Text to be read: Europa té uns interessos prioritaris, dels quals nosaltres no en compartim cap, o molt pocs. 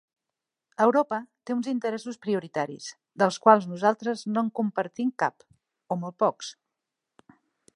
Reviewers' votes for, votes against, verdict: 2, 0, accepted